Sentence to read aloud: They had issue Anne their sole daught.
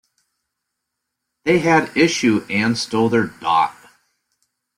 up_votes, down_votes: 0, 2